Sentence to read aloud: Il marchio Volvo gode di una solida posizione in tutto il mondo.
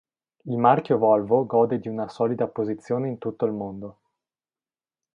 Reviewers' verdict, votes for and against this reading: accepted, 2, 0